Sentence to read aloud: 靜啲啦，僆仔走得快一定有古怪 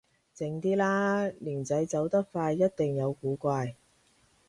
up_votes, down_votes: 0, 2